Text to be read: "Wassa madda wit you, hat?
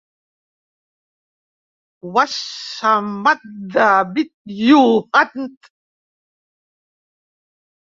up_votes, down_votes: 0, 2